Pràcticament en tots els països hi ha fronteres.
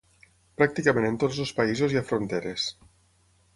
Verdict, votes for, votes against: accepted, 6, 0